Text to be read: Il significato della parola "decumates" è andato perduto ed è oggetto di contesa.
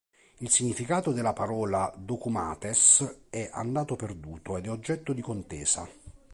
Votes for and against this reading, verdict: 2, 0, accepted